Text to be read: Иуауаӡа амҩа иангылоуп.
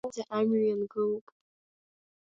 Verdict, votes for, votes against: rejected, 0, 2